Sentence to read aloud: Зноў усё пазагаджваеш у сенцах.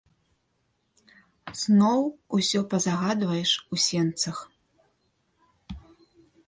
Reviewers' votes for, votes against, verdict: 1, 2, rejected